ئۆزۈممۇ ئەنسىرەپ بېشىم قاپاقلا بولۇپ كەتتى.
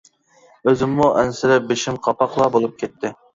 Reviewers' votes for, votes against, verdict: 2, 0, accepted